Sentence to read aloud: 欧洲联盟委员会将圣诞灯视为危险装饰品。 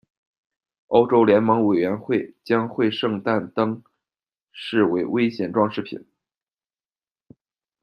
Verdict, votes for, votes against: rejected, 1, 2